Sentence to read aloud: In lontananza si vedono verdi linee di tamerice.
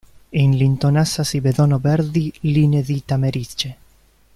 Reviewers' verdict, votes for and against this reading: rejected, 0, 2